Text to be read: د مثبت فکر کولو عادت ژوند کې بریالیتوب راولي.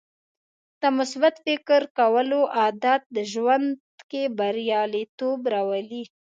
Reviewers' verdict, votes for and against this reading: accepted, 2, 0